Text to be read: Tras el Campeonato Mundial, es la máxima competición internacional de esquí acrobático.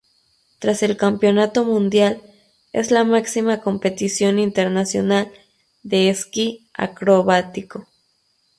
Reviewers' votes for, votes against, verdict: 2, 0, accepted